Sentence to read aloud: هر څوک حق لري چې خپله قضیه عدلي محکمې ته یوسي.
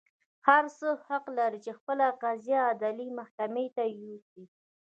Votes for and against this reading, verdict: 1, 2, rejected